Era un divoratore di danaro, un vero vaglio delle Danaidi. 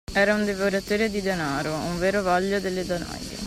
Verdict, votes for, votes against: rejected, 1, 2